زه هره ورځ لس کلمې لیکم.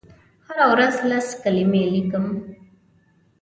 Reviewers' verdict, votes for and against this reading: rejected, 0, 2